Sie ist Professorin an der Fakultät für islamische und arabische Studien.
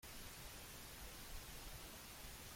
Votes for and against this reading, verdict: 0, 2, rejected